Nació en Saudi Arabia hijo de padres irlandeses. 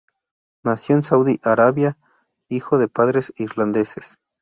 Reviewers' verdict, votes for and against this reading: accepted, 2, 0